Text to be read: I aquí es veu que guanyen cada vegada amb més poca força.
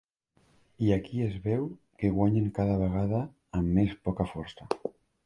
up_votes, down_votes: 2, 0